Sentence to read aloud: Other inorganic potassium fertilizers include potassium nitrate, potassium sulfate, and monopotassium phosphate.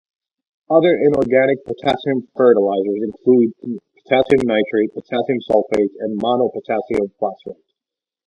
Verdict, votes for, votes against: accepted, 2, 0